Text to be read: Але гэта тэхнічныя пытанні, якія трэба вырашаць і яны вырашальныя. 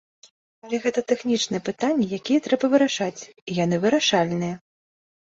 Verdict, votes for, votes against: accepted, 2, 0